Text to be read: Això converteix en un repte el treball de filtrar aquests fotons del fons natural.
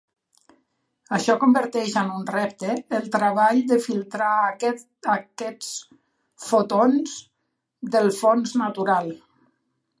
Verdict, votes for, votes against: rejected, 0, 2